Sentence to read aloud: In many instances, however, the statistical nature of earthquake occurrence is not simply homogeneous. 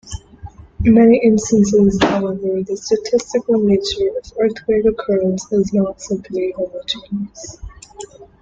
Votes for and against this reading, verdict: 2, 1, accepted